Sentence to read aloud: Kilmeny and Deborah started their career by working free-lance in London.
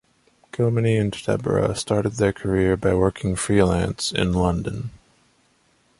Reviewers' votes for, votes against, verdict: 2, 0, accepted